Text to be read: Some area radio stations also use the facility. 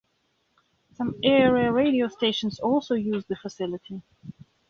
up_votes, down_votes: 2, 0